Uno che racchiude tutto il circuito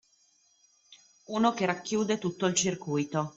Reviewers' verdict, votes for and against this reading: accepted, 2, 0